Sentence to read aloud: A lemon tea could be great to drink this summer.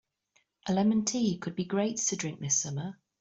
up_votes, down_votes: 2, 0